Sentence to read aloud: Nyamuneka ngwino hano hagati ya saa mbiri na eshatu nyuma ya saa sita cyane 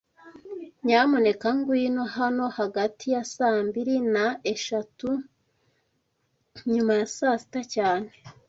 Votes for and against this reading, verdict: 2, 0, accepted